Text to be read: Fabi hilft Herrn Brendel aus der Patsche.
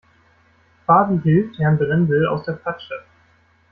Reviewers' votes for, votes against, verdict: 0, 2, rejected